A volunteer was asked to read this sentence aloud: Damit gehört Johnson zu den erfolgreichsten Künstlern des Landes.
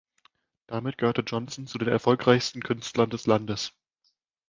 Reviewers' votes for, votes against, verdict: 1, 2, rejected